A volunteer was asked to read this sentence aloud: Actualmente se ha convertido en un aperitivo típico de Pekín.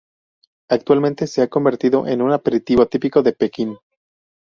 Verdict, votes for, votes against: rejected, 2, 2